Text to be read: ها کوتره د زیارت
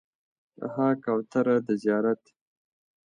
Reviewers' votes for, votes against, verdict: 2, 0, accepted